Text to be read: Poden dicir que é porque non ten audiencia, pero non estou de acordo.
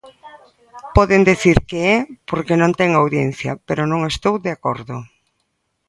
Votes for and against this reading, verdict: 1, 2, rejected